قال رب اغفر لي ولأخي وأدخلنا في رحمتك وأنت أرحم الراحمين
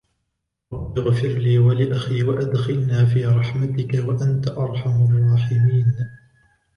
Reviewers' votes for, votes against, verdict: 2, 0, accepted